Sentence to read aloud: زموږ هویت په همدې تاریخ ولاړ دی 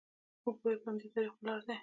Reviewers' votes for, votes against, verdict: 1, 2, rejected